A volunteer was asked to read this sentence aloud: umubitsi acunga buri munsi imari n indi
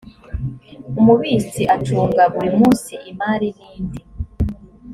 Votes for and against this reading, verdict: 2, 0, accepted